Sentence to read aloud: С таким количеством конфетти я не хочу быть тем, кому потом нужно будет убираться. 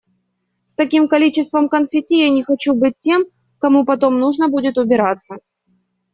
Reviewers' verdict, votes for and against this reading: accepted, 2, 0